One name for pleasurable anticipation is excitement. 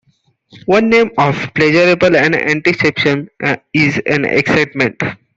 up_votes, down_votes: 0, 2